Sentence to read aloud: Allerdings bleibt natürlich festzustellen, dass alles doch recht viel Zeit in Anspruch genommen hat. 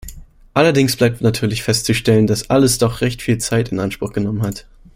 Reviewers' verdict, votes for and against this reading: accepted, 2, 0